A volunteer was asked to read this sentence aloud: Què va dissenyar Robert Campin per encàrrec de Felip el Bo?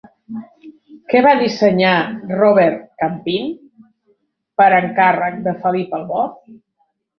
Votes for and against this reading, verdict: 1, 2, rejected